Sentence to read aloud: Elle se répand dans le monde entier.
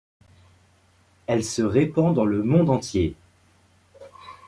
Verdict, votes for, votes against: accepted, 2, 0